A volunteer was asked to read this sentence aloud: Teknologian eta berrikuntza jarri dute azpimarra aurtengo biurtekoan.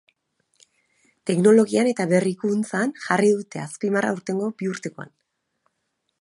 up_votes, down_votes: 1, 2